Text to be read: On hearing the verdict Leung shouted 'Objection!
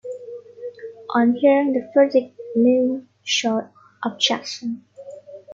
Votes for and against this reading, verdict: 3, 5, rejected